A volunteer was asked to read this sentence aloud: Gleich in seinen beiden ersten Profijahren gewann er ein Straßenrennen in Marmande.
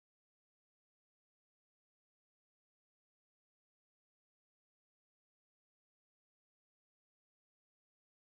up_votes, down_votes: 0, 4